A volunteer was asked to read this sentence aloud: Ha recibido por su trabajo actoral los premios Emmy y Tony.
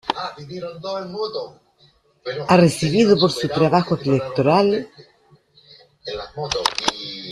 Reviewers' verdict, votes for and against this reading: rejected, 0, 2